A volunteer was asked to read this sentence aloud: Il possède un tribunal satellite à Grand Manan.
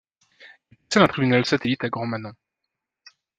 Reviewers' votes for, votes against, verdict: 0, 2, rejected